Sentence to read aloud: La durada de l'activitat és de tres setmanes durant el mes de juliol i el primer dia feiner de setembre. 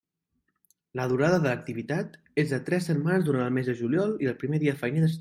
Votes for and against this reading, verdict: 0, 2, rejected